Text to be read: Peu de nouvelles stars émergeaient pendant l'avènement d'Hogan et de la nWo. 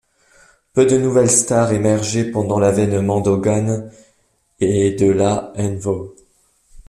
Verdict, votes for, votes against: accepted, 2, 0